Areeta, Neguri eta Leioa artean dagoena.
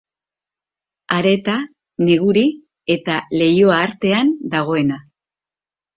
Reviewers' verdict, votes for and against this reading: accepted, 3, 0